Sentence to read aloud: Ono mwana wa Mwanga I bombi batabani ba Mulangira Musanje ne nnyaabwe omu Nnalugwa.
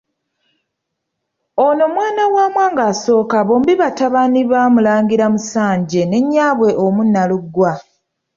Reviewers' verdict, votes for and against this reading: accepted, 2, 0